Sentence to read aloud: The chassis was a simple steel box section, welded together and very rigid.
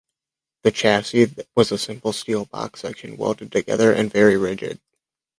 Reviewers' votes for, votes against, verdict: 2, 0, accepted